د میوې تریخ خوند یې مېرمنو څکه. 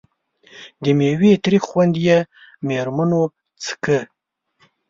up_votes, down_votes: 2, 0